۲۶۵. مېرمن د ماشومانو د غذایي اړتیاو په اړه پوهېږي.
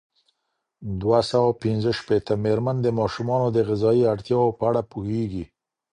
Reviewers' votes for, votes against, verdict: 0, 2, rejected